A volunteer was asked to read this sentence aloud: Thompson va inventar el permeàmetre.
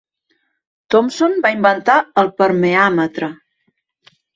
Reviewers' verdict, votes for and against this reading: accepted, 2, 0